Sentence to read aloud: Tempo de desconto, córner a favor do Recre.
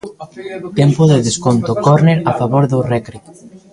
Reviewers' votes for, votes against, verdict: 0, 2, rejected